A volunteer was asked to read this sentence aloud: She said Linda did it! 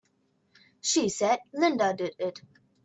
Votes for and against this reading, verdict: 2, 1, accepted